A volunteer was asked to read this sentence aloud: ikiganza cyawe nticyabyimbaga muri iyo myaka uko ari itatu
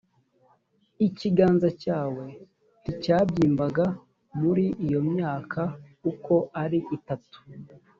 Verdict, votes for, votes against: accepted, 2, 0